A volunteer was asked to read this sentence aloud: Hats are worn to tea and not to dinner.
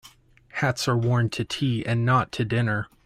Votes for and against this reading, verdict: 2, 0, accepted